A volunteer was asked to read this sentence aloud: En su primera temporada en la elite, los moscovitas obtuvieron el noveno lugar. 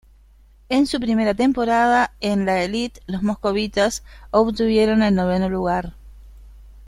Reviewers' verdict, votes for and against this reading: rejected, 1, 2